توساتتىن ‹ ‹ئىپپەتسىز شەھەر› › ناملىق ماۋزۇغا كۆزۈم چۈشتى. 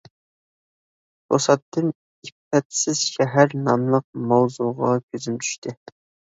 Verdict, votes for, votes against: accepted, 2, 0